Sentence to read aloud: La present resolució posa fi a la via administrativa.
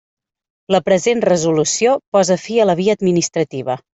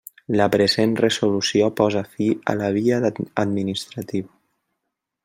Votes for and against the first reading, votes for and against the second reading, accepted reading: 3, 0, 0, 2, first